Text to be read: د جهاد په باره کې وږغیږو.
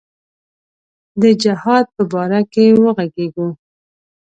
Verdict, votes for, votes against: accepted, 2, 0